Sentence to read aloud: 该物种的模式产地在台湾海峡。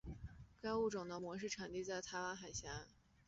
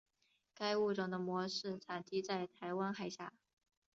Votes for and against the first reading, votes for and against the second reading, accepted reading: 1, 3, 4, 0, second